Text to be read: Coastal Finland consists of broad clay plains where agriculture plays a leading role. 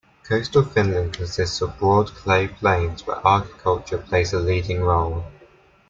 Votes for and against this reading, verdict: 2, 0, accepted